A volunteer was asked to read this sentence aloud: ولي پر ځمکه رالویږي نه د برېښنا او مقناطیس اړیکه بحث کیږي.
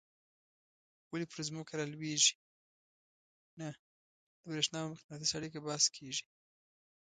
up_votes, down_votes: 1, 2